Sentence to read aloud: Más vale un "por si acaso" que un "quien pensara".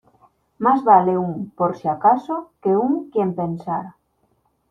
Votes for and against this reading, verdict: 2, 0, accepted